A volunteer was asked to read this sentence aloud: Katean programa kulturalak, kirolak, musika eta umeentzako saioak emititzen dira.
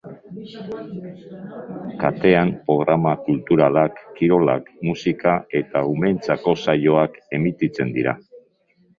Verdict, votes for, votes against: rejected, 1, 2